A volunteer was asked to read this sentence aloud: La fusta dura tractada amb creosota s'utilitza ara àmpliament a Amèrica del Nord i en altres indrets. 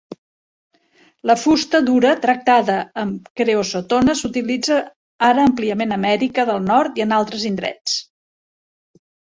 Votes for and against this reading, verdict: 0, 2, rejected